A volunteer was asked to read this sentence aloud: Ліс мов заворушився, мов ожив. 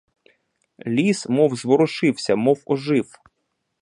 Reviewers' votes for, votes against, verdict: 0, 2, rejected